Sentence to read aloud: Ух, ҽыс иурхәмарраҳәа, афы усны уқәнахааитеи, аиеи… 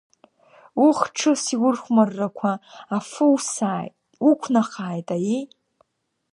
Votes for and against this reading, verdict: 1, 2, rejected